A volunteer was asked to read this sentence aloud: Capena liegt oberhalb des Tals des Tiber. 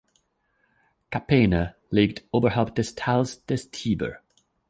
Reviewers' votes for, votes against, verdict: 2, 0, accepted